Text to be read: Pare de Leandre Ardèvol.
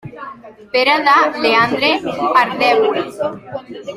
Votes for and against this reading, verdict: 0, 3, rejected